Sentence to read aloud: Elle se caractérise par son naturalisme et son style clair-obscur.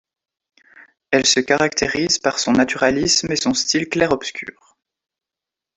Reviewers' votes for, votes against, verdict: 2, 0, accepted